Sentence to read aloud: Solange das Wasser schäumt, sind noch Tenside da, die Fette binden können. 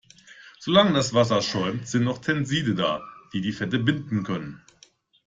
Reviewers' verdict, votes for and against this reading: rejected, 1, 2